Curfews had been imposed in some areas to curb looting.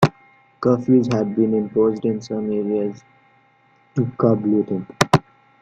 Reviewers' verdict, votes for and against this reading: accepted, 2, 1